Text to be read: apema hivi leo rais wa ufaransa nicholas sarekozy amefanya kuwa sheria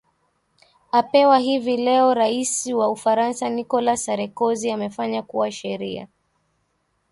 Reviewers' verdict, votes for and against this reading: accepted, 2, 0